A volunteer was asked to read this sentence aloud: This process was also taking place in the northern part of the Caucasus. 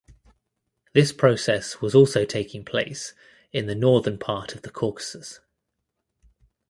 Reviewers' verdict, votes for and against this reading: accepted, 2, 0